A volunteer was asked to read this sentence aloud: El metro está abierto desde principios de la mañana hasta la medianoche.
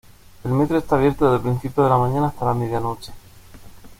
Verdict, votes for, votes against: accepted, 2, 1